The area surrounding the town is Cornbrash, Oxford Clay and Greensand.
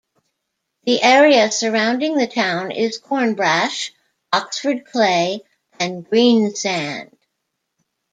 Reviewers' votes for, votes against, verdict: 2, 0, accepted